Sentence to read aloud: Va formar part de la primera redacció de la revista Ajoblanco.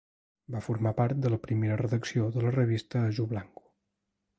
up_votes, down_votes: 1, 2